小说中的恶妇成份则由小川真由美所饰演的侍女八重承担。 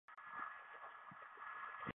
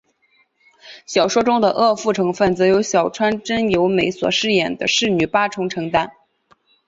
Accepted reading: second